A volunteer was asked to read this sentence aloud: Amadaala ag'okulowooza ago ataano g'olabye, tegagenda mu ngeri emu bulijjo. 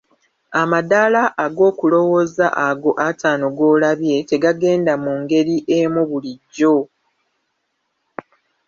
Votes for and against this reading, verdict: 1, 2, rejected